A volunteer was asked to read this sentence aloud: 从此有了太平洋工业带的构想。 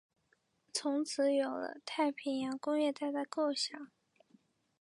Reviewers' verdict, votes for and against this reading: accepted, 2, 1